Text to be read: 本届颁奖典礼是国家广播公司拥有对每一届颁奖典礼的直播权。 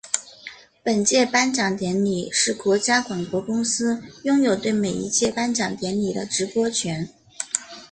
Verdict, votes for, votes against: accepted, 2, 0